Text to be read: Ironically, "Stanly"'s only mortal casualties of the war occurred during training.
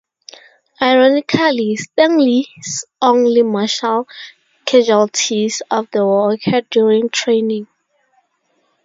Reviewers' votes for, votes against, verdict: 0, 2, rejected